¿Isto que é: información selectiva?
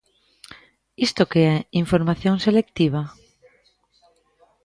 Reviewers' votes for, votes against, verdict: 1, 2, rejected